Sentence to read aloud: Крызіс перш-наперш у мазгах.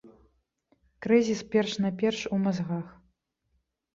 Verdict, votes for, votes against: rejected, 1, 2